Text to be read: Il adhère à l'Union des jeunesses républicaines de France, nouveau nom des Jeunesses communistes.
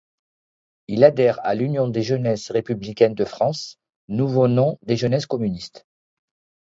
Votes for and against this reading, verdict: 2, 0, accepted